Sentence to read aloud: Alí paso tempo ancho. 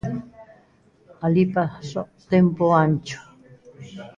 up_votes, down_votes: 0, 2